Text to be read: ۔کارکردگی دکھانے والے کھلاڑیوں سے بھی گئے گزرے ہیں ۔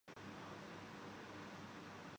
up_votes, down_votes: 0, 3